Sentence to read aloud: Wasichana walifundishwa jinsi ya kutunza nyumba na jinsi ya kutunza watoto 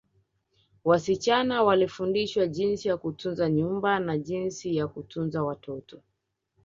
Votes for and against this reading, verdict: 2, 0, accepted